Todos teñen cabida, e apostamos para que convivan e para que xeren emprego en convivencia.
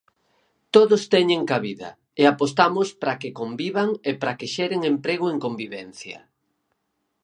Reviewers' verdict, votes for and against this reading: accepted, 4, 0